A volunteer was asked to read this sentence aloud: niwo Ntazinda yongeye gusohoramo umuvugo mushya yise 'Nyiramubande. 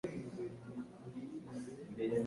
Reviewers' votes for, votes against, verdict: 1, 2, rejected